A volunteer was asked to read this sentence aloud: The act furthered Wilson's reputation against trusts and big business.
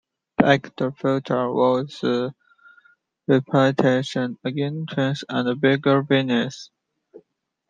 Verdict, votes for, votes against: rejected, 0, 2